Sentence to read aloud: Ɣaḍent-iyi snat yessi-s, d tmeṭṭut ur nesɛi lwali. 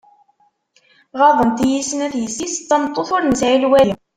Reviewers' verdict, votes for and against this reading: rejected, 1, 2